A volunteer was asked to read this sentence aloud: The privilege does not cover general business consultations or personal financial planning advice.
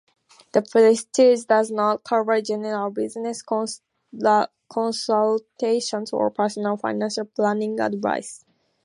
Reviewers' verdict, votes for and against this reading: rejected, 0, 2